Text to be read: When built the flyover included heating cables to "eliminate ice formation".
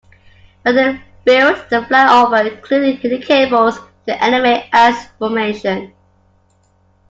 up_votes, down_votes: 0, 2